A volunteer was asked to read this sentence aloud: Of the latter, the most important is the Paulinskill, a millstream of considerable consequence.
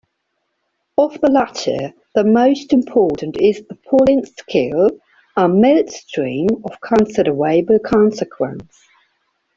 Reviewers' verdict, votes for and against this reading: rejected, 1, 2